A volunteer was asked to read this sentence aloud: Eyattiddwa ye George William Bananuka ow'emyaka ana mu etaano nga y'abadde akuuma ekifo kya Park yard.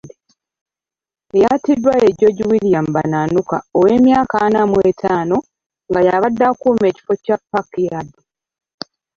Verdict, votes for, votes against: rejected, 1, 2